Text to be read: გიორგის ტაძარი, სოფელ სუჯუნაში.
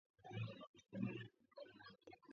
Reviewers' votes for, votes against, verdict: 0, 2, rejected